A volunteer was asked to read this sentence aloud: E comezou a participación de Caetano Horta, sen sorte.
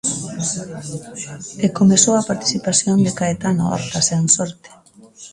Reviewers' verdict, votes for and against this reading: accepted, 2, 1